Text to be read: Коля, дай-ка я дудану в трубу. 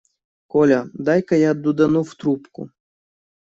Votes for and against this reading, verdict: 0, 2, rejected